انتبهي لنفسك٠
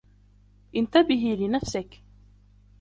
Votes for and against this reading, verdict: 0, 2, rejected